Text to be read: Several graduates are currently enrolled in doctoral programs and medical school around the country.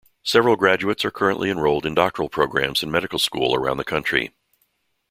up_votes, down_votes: 2, 0